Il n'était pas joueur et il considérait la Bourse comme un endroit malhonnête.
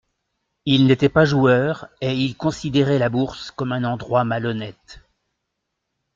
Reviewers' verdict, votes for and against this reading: accepted, 2, 0